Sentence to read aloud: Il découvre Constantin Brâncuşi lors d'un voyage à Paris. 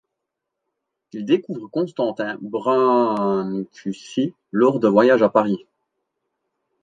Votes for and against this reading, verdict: 1, 2, rejected